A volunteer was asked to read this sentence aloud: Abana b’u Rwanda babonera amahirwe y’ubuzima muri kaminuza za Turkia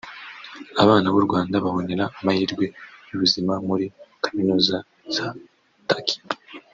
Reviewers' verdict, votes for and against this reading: rejected, 1, 2